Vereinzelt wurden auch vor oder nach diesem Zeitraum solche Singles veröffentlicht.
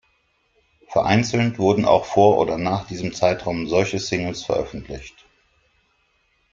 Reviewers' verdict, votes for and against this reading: accepted, 2, 0